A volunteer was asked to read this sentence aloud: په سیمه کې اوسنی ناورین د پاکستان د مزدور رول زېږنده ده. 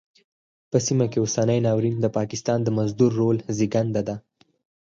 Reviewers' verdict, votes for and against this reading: rejected, 0, 4